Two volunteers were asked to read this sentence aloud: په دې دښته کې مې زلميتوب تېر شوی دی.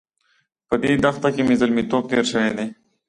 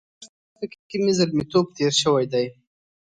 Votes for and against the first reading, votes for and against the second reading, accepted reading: 2, 0, 1, 2, first